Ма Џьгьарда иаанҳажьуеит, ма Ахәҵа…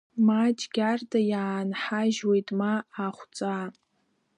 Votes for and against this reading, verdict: 1, 2, rejected